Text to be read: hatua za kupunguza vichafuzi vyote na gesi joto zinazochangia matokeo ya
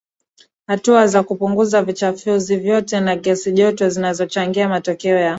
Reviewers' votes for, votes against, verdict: 2, 0, accepted